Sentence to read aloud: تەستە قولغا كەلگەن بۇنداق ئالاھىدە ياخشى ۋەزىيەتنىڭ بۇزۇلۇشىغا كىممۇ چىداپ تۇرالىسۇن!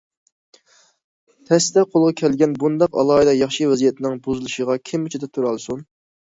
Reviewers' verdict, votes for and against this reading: accepted, 2, 0